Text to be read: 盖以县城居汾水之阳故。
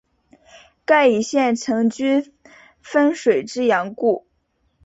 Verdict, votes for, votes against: accepted, 2, 0